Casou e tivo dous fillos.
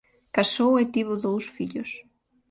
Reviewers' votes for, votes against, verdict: 2, 0, accepted